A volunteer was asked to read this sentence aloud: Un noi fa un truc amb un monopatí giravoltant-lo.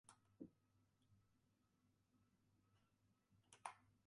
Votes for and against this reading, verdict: 0, 2, rejected